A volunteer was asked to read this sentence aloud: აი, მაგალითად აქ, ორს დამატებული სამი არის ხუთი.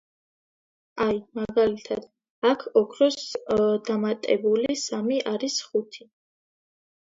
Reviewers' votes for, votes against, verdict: 0, 2, rejected